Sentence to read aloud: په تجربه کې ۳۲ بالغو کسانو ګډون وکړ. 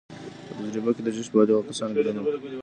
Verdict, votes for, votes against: rejected, 0, 2